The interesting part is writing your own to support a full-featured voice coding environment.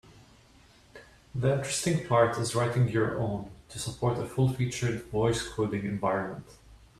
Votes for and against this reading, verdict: 1, 2, rejected